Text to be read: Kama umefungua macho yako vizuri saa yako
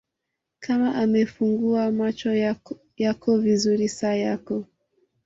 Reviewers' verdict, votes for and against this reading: accepted, 2, 0